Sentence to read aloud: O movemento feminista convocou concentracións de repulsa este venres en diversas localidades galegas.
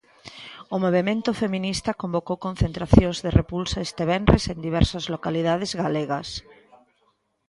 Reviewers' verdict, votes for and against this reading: rejected, 1, 2